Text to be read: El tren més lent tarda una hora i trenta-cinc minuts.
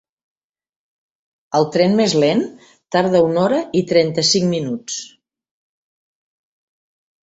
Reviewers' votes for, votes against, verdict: 3, 0, accepted